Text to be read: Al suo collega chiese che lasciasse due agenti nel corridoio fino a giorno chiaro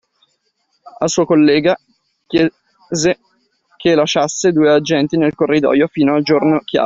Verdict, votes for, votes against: rejected, 1, 2